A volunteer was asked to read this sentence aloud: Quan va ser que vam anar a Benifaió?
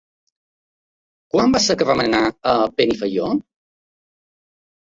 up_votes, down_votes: 2, 0